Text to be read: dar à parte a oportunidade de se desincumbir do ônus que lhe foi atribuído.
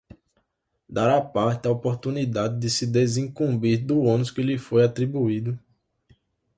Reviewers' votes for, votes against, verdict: 2, 0, accepted